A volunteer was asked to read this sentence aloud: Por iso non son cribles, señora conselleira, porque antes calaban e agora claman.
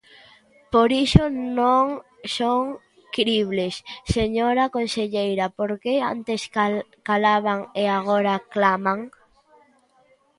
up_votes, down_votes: 1, 2